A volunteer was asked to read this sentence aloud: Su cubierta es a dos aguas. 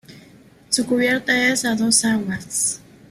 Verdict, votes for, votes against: accepted, 2, 0